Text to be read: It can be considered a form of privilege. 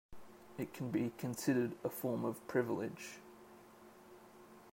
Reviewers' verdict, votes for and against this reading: accepted, 2, 1